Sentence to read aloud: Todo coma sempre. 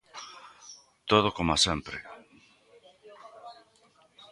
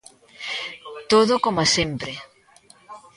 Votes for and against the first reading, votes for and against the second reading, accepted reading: 0, 2, 2, 0, second